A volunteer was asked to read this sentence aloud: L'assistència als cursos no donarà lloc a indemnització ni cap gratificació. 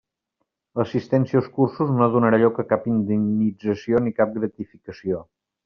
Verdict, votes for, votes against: rejected, 1, 2